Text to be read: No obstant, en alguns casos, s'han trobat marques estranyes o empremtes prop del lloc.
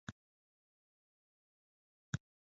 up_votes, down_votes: 0, 2